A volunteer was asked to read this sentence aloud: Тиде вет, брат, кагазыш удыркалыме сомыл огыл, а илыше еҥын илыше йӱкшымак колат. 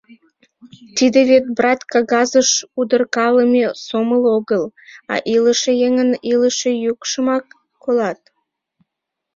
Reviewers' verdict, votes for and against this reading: accepted, 2, 1